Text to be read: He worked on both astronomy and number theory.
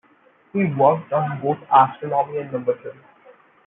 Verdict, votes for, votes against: rejected, 1, 2